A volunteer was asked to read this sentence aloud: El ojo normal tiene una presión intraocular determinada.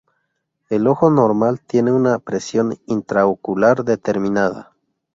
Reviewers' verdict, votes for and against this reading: accepted, 4, 0